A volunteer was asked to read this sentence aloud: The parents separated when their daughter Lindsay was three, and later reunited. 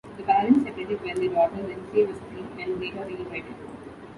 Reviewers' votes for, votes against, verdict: 0, 2, rejected